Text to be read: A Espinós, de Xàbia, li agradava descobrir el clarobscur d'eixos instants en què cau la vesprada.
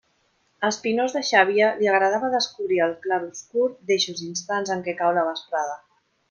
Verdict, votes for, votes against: accepted, 2, 0